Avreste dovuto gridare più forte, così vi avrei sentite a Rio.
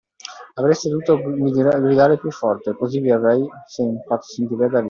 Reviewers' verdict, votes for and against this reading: rejected, 0, 2